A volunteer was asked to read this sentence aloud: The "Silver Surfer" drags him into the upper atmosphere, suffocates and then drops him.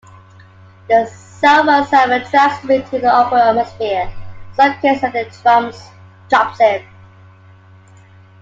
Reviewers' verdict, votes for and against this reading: accepted, 2, 1